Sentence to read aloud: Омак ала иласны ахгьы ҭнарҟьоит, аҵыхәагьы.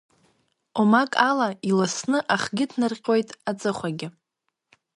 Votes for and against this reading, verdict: 2, 0, accepted